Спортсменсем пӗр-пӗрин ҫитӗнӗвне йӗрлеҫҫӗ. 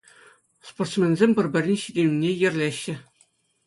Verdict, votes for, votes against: accepted, 2, 0